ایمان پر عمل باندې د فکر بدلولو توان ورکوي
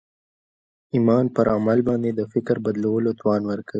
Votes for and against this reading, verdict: 0, 2, rejected